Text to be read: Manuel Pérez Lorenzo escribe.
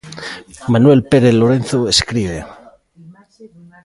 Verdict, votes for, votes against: accepted, 2, 1